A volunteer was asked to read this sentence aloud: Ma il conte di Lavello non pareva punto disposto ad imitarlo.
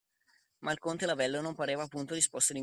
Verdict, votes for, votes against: rejected, 0, 2